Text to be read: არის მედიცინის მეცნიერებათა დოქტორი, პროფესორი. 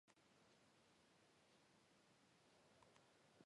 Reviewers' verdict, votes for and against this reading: rejected, 1, 2